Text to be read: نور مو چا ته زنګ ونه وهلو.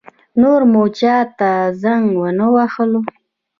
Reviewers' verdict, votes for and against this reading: accepted, 2, 0